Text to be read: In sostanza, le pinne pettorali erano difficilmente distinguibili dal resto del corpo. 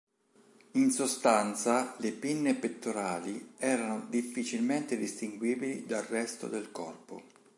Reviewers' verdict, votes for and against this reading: accepted, 3, 1